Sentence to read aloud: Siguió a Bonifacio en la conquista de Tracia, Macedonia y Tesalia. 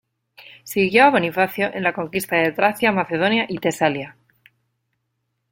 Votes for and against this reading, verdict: 2, 0, accepted